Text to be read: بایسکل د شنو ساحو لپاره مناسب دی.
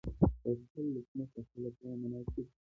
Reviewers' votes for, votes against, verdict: 0, 2, rejected